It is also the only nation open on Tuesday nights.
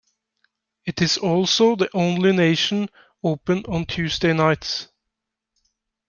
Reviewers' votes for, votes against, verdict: 2, 0, accepted